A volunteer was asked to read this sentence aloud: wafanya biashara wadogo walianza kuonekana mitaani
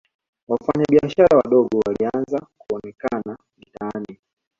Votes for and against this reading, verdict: 2, 1, accepted